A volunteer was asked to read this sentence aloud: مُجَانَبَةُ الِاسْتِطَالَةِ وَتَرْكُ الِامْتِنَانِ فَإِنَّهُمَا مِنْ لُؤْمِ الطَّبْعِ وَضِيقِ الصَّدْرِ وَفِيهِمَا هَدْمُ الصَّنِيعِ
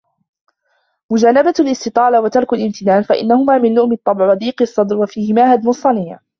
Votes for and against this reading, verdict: 1, 2, rejected